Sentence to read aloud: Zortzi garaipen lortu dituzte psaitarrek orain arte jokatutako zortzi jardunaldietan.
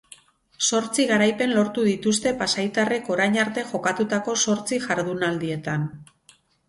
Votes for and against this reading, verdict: 2, 2, rejected